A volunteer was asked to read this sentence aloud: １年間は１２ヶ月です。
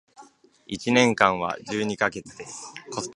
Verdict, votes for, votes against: rejected, 0, 2